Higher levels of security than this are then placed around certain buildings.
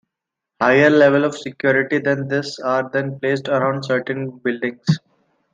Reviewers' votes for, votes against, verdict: 2, 1, accepted